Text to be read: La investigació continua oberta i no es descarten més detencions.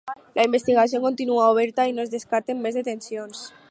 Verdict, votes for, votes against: accepted, 4, 0